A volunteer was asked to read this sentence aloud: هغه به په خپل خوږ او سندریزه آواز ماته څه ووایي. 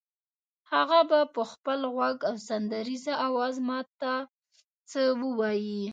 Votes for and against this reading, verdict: 0, 2, rejected